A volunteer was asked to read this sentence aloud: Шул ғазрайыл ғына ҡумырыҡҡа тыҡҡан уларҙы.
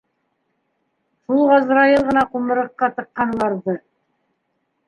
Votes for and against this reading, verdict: 2, 1, accepted